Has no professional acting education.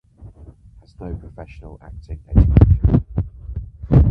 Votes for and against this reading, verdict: 2, 4, rejected